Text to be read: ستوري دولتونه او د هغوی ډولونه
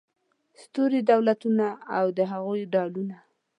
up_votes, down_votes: 2, 0